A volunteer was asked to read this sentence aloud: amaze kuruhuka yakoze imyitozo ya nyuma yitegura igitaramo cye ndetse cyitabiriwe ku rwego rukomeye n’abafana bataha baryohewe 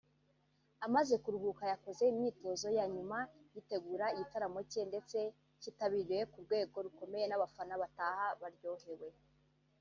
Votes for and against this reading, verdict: 1, 2, rejected